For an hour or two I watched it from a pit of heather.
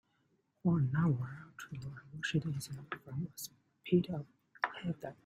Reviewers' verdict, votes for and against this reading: rejected, 0, 2